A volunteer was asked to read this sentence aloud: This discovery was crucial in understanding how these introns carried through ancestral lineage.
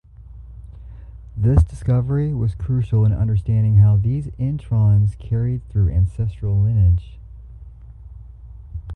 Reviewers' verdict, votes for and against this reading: accepted, 2, 0